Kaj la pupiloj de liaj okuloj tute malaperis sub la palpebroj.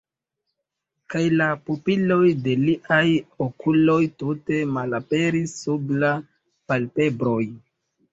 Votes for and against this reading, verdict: 2, 1, accepted